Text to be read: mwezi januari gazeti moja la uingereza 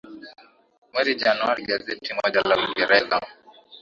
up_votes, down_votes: 2, 1